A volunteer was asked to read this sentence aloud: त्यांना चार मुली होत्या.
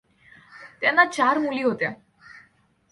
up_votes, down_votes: 2, 0